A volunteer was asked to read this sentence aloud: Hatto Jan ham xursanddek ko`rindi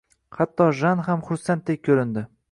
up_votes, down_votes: 2, 0